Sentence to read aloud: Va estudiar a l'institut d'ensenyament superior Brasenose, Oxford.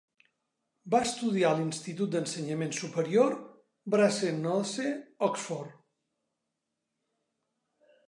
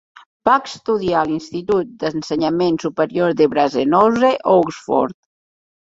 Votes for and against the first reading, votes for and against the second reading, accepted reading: 3, 0, 0, 2, first